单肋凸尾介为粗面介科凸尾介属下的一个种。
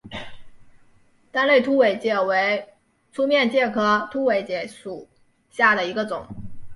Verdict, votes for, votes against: accepted, 4, 2